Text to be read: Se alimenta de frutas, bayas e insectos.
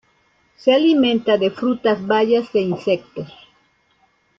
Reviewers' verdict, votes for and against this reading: accepted, 2, 1